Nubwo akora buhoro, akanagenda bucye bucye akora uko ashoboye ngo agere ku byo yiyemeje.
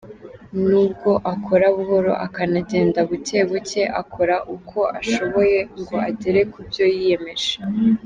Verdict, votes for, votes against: accepted, 3, 0